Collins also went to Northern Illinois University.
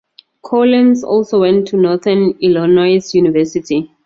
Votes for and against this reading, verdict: 2, 4, rejected